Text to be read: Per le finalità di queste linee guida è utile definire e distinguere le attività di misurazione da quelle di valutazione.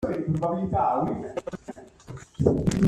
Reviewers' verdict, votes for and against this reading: rejected, 0, 2